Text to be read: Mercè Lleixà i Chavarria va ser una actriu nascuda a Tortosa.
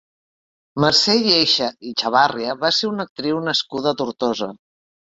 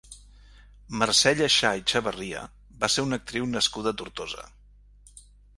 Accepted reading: second